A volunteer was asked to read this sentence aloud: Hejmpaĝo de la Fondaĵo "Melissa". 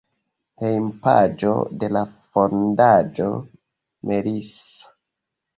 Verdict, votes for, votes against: rejected, 0, 2